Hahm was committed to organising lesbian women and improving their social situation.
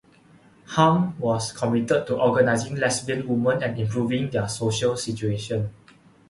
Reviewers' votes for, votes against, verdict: 2, 0, accepted